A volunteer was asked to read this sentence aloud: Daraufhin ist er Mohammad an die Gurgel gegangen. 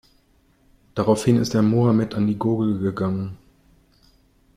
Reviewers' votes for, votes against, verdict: 0, 2, rejected